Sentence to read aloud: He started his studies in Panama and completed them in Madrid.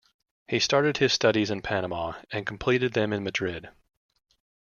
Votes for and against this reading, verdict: 3, 0, accepted